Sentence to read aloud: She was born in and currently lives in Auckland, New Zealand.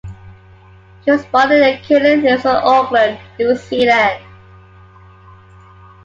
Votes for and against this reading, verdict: 2, 1, accepted